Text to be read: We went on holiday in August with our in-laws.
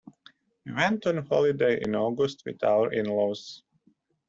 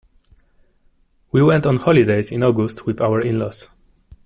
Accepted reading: first